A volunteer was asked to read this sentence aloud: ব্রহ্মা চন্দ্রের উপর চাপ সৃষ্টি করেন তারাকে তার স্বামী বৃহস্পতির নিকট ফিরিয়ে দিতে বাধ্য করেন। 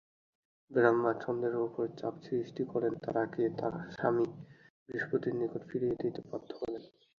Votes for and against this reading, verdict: 0, 2, rejected